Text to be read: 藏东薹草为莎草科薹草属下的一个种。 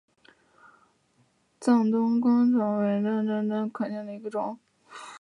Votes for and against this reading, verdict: 3, 1, accepted